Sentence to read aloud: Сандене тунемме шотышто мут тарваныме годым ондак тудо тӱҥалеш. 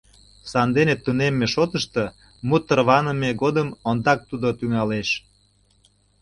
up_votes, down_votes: 2, 0